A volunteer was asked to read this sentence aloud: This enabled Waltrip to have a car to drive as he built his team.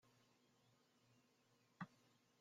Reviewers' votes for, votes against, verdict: 0, 2, rejected